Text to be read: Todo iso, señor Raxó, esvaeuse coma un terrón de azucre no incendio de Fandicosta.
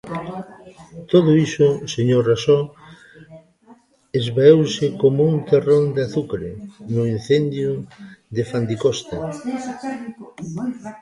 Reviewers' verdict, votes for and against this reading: accepted, 2, 1